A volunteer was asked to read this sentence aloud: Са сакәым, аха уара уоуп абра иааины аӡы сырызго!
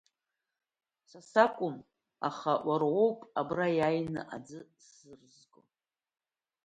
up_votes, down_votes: 1, 2